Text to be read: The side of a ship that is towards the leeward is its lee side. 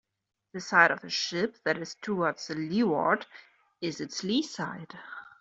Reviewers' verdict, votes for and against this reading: accepted, 2, 0